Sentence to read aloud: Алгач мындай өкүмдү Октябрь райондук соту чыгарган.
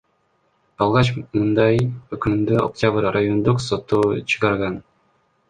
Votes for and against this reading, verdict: 1, 2, rejected